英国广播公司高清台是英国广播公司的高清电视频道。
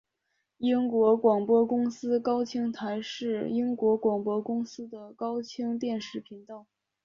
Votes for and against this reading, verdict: 3, 0, accepted